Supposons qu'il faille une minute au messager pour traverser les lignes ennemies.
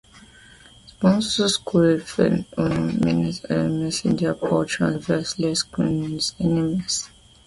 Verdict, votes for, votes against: rejected, 1, 2